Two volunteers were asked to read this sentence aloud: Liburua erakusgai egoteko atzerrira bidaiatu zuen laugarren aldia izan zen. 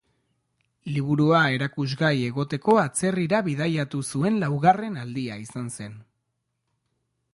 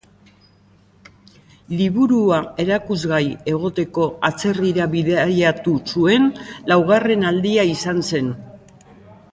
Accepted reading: first